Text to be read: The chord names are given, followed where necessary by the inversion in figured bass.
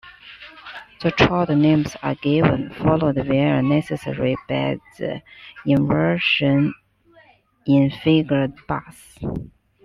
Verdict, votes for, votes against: rejected, 0, 2